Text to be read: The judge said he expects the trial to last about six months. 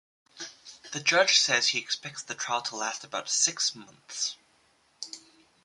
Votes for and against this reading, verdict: 2, 0, accepted